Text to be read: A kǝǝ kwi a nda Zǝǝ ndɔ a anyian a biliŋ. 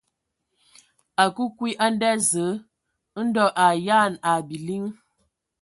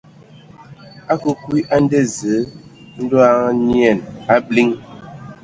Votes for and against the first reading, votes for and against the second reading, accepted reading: 1, 2, 2, 0, second